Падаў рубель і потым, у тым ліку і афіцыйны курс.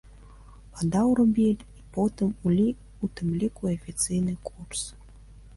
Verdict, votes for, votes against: rejected, 0, 2